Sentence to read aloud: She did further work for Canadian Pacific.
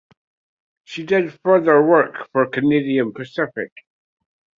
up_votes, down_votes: 2, 0